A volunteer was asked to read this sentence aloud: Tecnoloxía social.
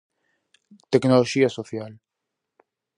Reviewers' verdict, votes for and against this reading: accepted, 4, 0